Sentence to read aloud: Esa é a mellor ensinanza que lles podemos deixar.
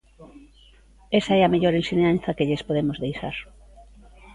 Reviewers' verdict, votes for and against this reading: accepted, 2, 0